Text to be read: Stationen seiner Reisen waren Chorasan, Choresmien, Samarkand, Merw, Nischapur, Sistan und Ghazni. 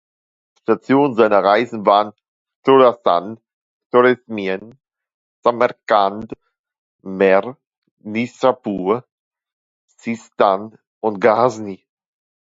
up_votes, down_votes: 0, 2